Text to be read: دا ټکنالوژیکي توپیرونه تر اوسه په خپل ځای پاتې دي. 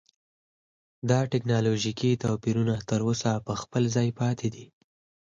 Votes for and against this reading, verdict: 4, 2, accepted